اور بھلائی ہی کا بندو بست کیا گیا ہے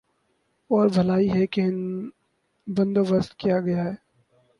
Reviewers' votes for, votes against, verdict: 0, 2, rejected